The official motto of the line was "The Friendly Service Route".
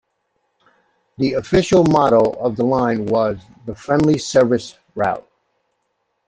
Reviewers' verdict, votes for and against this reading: rejected, 0, 2